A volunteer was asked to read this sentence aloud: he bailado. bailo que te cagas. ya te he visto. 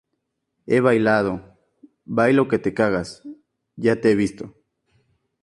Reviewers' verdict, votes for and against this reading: accepted, 6, 0